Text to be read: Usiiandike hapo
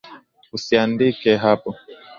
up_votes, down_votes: 15, 0